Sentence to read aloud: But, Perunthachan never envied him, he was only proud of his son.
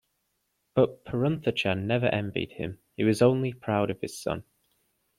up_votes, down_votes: 2, 0